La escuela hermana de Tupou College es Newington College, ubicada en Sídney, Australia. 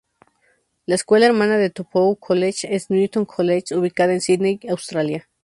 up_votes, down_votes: 2, 0